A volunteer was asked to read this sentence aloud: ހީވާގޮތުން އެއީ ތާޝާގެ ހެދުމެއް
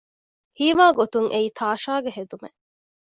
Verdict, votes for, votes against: accepted, 2, 0